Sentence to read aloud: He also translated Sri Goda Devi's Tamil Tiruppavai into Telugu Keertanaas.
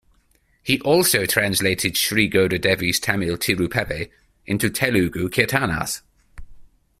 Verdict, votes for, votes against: accepted, 2, 0